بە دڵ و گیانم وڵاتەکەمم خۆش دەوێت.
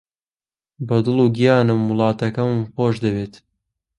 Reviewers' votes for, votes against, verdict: 2, 1, accepted